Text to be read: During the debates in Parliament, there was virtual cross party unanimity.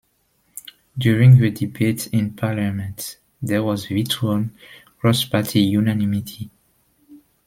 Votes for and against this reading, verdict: 2, 0, accepted